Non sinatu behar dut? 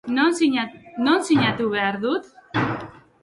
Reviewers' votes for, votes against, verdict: 0, 2, rejected